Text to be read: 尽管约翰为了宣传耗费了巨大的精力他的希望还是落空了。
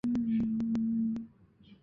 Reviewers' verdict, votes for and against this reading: rejected, 1, 6